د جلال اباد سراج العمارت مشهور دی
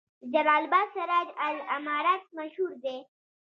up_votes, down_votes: 2, 0